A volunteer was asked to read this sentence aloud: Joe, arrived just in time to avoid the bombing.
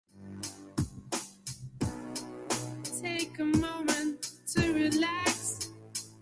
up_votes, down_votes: 0, 2